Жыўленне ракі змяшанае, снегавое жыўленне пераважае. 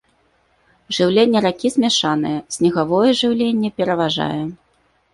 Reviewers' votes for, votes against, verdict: 2, 0, accepted